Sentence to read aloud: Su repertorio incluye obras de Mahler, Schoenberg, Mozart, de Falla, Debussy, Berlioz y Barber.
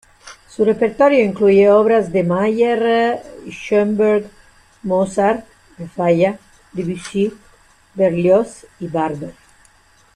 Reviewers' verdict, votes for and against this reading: accepted, 2, 1